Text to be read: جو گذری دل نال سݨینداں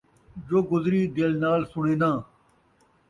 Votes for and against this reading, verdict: 2, 0, accepted